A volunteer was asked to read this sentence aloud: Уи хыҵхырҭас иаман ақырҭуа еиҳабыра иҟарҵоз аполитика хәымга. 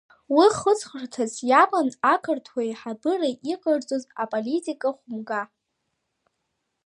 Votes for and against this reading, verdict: 2, 1, accepted